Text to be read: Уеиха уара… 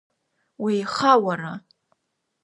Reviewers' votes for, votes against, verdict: 2, 0, accepted